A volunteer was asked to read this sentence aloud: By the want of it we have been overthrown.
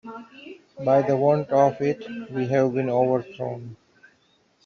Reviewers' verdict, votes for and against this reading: accepted, 2, 1